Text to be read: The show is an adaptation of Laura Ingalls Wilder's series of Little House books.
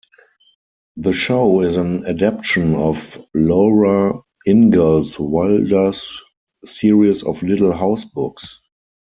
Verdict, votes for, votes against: rejected, 2, 4